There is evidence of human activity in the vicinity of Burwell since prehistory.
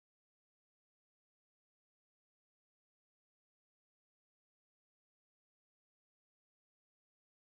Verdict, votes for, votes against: rejected, 0, 2